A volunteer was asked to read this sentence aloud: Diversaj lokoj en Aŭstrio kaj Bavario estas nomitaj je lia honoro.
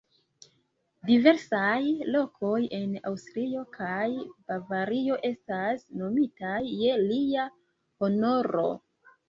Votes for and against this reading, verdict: 2, 0, accepted